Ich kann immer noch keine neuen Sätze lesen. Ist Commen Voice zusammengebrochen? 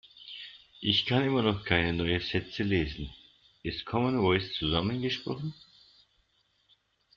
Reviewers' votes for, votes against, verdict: 0, 2, rejected